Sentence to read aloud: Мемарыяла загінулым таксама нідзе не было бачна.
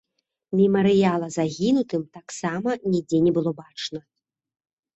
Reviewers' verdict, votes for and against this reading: rejected, 0, 2